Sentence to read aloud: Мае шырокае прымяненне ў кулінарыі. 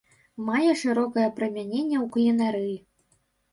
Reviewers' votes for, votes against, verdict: 2, 0, accepted